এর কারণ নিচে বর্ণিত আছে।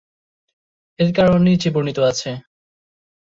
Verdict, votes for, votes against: accepted, 2, 0